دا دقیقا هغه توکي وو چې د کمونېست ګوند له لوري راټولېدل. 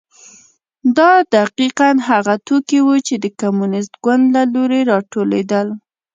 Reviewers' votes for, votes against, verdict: 1, 2, rejected